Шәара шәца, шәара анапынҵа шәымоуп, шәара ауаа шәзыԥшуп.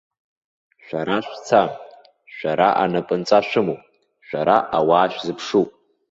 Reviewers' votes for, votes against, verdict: 2, 0, accepted